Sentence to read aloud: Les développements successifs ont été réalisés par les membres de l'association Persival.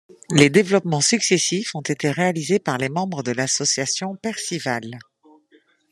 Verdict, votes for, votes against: accepted, 2, 0